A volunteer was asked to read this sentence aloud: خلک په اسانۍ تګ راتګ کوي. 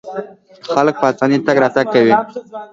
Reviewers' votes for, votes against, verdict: 2, 0, accepted